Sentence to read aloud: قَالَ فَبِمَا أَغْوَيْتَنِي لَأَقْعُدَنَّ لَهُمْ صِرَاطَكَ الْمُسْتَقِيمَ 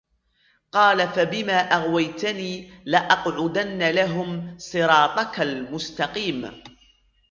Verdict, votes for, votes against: accepted, 2, 1